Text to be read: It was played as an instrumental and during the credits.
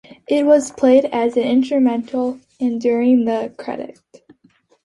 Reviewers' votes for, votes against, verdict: 2, 3, rejected